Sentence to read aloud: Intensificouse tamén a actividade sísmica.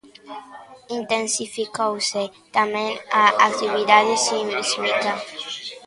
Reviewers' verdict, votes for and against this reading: rejected, 0, 2